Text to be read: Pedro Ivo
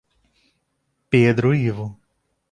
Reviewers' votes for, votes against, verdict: 2, 0, accepted